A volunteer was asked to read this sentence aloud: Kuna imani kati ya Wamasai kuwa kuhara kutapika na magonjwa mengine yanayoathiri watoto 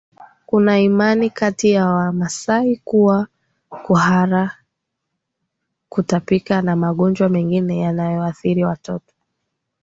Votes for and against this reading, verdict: 2, 0, accepted